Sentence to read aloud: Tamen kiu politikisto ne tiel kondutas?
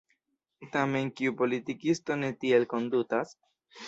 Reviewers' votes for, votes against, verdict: 2, 0, accepted